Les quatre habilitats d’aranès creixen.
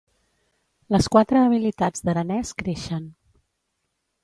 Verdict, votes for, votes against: accepted, 2, 0